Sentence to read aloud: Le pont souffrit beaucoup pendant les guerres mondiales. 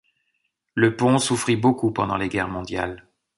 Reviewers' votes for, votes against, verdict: 2, 0, accepted